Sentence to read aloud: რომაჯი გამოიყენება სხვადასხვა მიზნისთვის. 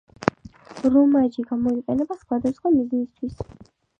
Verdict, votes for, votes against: accepted, 2, 0